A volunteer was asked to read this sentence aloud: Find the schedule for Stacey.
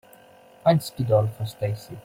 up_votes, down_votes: 1, 2